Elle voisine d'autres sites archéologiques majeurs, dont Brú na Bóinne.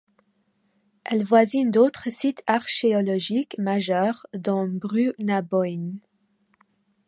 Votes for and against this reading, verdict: 0, 2, rejected